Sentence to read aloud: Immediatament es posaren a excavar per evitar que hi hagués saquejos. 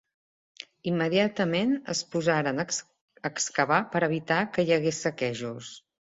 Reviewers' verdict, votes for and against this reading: rejected, 0, 2